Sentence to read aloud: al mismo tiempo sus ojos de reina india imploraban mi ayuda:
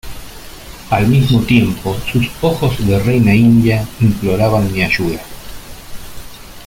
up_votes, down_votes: 2, 0